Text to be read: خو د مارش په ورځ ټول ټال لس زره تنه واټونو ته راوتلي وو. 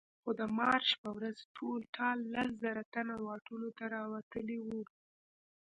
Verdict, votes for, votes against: accepted, 2, 0